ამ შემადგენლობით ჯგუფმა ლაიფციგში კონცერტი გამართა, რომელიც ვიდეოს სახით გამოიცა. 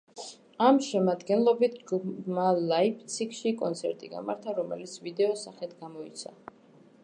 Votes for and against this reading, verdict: 2, 0, accepted